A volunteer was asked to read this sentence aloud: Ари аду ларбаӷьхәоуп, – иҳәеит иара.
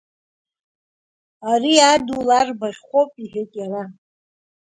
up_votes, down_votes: 0, 2